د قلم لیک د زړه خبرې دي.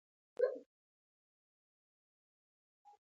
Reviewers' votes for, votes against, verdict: 0, 2, rejected